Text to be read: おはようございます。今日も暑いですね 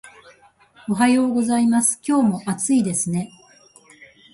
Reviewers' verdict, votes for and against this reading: accepted, 2, 0